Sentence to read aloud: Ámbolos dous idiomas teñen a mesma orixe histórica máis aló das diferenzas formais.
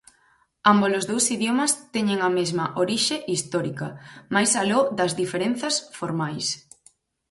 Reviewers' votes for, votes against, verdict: 4, 0, accepted